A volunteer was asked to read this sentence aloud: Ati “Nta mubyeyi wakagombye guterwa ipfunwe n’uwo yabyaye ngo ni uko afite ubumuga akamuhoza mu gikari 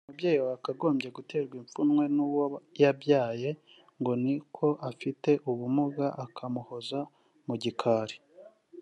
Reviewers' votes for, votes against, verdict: 0, 2, rejected